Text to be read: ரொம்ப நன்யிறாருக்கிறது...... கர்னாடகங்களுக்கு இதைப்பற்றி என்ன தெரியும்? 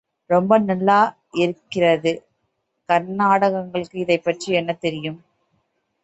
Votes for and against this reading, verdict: 0, 2, rejected